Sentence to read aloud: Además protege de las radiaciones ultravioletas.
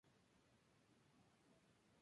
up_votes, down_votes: 0, 4